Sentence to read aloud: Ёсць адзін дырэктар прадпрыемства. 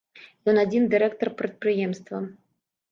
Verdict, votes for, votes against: rejected, 1, 2